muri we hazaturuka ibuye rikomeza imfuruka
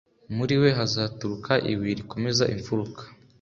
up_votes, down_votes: 3, 0